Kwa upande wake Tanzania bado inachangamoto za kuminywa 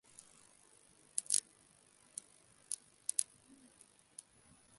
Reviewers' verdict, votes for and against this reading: rejected, 1, 2